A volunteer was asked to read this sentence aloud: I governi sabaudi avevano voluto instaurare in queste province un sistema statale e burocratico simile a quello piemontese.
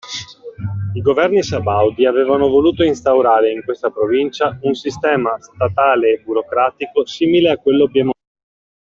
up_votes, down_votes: 0, 2